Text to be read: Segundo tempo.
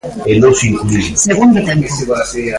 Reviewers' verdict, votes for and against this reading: rejected, 0, 2